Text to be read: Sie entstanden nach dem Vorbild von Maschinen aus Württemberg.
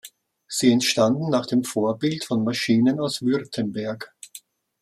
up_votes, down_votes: 2, 0